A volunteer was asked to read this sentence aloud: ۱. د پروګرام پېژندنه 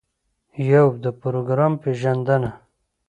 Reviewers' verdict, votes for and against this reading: rejected, 0, 2